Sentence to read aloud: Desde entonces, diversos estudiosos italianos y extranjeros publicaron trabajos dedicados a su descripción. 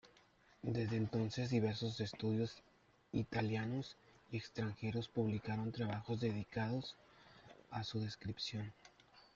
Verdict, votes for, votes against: rejected, 0, 2